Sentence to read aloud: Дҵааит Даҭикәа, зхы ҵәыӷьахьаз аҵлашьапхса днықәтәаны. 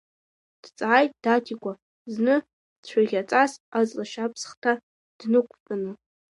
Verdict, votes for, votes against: rejected, 1, 2